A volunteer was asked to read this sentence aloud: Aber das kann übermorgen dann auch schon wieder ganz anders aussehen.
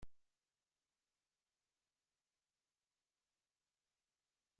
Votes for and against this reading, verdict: 0, 2, rejected